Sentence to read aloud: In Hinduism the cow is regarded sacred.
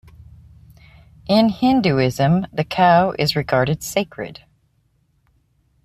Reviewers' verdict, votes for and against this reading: accepted, 2, 1